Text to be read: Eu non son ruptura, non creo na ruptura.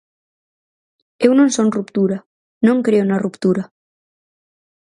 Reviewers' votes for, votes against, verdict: 4, 0, accepted